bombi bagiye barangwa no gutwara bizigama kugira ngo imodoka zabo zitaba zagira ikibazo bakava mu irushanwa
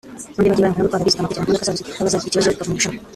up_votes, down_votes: 0, 3